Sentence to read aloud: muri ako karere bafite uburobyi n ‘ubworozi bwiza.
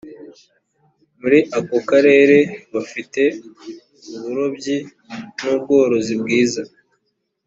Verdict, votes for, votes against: accepted, 3, 0